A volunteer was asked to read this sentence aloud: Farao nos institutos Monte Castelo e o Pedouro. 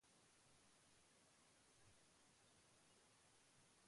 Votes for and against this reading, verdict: 0, 2, rejected